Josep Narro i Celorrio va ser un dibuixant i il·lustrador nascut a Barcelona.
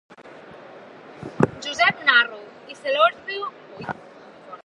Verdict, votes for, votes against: rejected, 0, 2